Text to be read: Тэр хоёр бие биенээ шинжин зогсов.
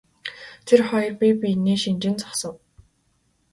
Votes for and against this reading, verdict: 2, 0, accepted